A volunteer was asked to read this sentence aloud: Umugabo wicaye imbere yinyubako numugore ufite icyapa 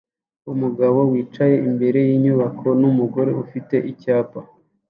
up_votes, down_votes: 2, 0